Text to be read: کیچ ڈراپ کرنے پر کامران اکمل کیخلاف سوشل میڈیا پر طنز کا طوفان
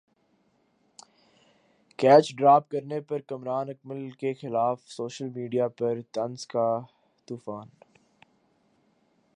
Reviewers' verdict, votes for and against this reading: rejected, 0, 2